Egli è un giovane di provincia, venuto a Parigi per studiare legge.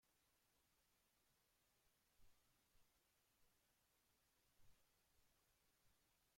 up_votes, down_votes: 0, 2